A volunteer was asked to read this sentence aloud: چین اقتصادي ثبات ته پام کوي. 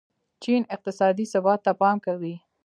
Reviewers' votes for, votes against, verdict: 1, 2, rejected